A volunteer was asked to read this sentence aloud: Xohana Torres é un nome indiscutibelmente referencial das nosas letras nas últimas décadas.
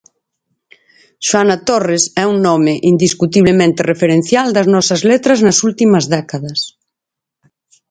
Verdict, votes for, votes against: rejected, 0, 4